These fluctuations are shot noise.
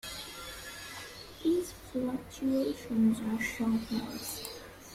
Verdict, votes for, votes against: rejected, 0, 3